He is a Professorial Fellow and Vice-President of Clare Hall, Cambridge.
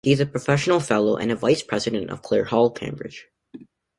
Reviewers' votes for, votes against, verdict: 1, 2, rejected